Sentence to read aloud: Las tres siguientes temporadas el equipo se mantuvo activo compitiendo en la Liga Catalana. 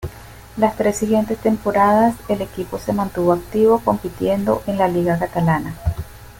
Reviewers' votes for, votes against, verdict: 3, 0, accepted